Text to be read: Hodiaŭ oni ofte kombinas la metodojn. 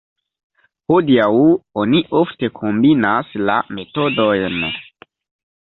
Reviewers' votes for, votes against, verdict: 1, 2, rejected